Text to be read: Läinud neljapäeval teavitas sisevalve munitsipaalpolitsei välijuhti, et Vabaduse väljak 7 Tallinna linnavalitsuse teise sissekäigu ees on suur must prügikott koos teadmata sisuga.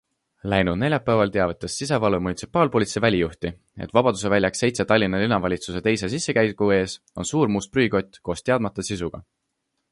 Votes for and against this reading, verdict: 0, 2, rejected